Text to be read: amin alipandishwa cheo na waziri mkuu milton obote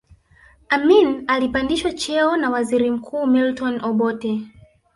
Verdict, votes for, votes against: rejected, 0, 3